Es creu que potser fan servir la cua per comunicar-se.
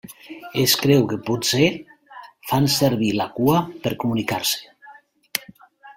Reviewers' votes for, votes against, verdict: 1, 2, rejected